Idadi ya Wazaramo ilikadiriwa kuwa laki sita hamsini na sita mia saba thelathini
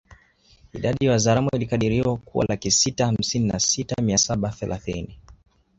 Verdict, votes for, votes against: rejected, 1, 2